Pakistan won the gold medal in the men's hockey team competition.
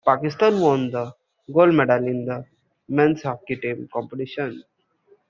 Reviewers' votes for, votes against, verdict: 2, 1, accepted